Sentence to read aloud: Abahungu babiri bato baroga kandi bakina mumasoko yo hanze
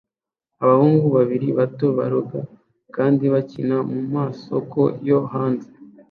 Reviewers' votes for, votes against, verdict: 2, 0, accepted